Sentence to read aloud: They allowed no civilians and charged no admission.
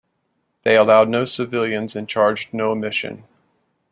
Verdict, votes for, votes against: rejected, 0, 2